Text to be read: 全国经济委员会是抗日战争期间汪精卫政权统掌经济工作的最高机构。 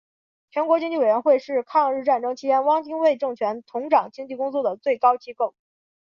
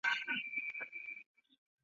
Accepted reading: first